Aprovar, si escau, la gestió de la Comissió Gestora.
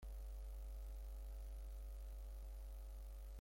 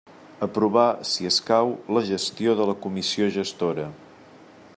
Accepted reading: second